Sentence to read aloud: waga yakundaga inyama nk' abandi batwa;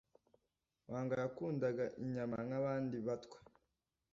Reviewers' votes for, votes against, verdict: 2, 0, accepted